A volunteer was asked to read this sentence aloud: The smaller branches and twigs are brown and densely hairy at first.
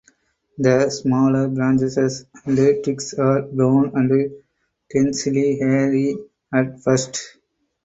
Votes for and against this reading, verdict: 2, 2, rejected